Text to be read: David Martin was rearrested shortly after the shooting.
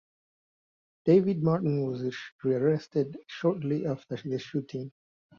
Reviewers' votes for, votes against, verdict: 2, 1, accepted